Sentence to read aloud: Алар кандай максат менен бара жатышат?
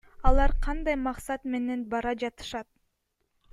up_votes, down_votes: 2, 1